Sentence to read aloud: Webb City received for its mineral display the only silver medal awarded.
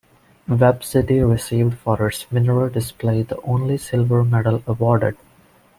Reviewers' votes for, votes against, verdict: 1, 2, rejected